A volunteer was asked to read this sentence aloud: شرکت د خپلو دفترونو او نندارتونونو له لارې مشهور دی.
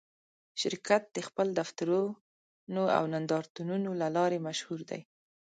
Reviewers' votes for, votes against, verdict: 1, 2, rejected